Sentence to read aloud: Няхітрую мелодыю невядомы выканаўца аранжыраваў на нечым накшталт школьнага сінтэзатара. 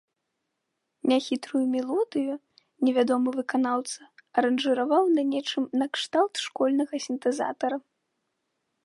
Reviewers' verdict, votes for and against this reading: accepted, 2, 0